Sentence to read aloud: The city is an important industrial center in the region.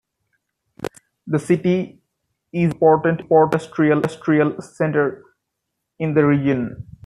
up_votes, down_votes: 0, 2